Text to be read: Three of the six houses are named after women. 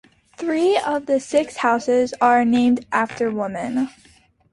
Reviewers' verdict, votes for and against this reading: accepted, 2, 0